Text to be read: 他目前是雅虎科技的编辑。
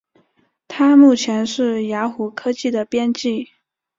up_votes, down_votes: 2, 0